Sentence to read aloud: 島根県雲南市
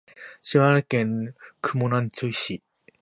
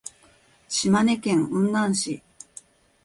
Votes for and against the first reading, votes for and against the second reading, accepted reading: 0, 3, 2, 0, second